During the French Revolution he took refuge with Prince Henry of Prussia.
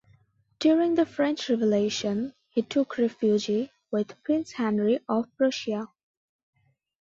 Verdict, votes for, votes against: accepted, 2, 0